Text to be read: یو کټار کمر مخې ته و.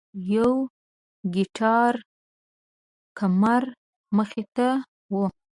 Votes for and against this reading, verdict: 1, 2, rejected